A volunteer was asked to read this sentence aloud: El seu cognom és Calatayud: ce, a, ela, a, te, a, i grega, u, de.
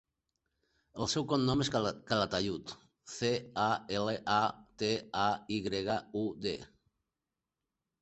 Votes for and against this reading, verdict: 2, 4, rejected